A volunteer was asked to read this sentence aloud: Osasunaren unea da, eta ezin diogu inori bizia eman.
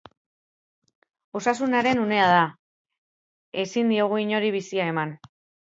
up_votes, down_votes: 0, 3